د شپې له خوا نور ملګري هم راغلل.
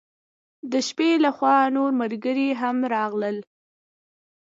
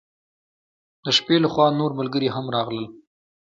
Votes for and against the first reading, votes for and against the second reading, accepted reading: 1, 2, 2, 1, second